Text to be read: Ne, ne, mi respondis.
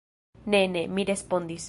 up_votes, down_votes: 2, 0